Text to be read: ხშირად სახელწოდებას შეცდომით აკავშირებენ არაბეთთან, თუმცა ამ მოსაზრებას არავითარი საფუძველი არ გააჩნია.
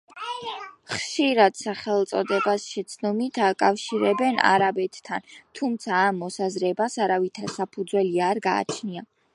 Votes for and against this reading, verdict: 2, 0, accepted